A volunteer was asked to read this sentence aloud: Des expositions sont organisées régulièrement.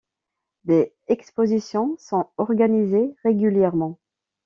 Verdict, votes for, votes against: accepted, 2, 1